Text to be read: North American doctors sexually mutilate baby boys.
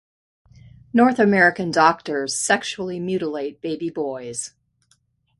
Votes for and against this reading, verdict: 2, 0, accepted